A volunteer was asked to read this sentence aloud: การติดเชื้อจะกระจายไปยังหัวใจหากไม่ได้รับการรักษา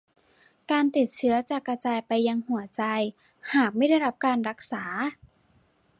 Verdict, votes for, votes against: accepted, 2, 0